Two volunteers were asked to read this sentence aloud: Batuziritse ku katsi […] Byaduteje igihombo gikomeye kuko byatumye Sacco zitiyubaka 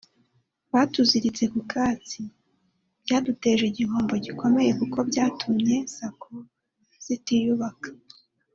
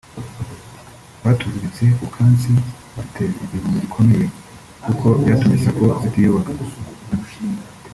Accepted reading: first